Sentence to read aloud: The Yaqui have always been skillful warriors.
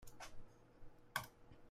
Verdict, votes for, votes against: rejected, 0, 2